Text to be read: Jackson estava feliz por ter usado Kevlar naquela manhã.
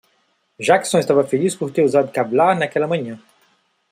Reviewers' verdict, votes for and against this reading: rejected, 0, 2